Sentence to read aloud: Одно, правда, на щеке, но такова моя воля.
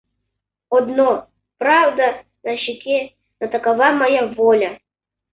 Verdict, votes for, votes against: accepted, 2, 0